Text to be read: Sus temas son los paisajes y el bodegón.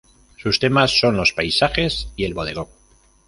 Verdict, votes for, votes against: rejected, 1, 2